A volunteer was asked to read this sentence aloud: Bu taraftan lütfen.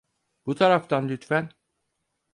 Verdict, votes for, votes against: accepted, 4, 0